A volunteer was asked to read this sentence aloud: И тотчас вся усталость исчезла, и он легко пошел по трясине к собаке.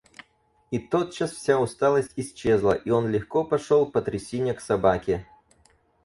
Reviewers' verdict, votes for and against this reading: accepted, 4, 0